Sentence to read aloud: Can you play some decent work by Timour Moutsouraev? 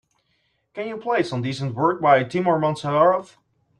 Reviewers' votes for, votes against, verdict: 2, 0, accepted